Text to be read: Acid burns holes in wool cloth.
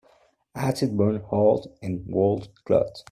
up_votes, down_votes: 1, 2